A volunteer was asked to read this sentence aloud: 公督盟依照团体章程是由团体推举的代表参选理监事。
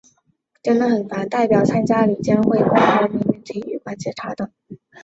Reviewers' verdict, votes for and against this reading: rejected, 0, 2